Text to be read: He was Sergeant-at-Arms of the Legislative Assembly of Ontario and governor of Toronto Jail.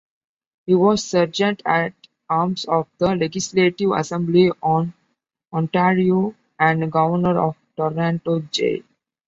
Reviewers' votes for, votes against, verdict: 0, 2, rejected